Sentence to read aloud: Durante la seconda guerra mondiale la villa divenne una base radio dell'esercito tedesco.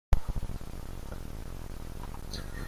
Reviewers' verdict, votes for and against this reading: rejected, 0, 3